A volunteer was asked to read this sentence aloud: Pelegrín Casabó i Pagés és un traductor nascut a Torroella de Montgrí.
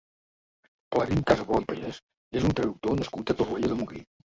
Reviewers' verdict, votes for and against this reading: rejected, 0, 2